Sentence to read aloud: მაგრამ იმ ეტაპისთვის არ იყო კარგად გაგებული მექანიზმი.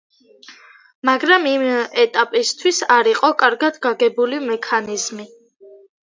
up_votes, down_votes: 0, 2